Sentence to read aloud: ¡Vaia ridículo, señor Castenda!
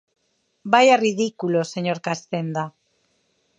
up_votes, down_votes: 4, 0